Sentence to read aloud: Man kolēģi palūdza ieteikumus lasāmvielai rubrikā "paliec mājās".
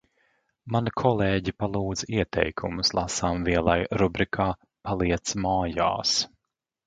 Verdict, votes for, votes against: accepted, 2, 0